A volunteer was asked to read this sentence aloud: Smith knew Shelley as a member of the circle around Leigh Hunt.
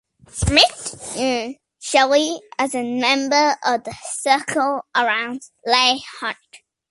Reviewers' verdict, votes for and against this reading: accepted, 2, 1